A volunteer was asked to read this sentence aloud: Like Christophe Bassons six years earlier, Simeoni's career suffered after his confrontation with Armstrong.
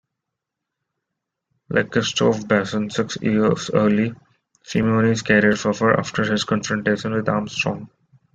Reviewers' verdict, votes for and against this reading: rejected, 0, 2